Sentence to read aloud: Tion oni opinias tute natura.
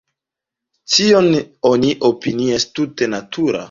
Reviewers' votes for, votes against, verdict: 0, 2, rejected